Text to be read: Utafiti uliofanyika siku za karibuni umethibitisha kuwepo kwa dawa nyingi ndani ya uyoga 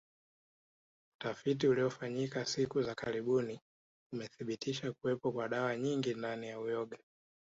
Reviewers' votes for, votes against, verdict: 2, 1, accepted